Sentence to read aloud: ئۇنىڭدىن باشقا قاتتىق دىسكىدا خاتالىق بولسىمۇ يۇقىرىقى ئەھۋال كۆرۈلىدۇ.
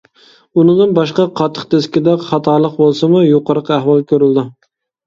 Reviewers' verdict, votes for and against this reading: accepted, 2, 0